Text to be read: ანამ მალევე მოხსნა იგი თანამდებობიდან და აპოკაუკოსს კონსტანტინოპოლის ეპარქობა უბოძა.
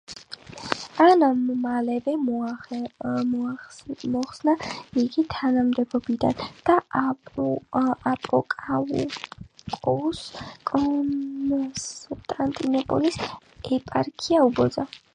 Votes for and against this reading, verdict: 0, 7, rejected